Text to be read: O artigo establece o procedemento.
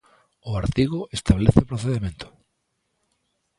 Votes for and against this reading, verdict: 2, 0, accepted